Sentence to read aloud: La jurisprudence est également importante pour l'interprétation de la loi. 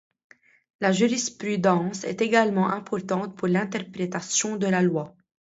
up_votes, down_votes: 1, 2